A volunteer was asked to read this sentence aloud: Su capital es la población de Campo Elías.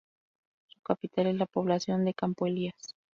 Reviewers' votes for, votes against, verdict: 4, 2, accepted